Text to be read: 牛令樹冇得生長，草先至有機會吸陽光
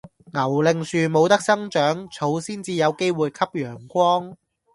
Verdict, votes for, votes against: accepted, 2, 0